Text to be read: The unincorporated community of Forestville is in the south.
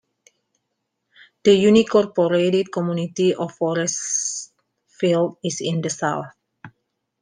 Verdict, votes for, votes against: rejected, 0, 2